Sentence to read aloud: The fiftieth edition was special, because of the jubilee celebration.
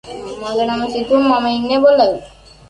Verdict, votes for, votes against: rejected, 0, 2